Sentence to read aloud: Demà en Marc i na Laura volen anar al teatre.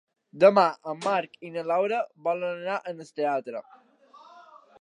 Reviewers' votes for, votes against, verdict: 1, 2, rejected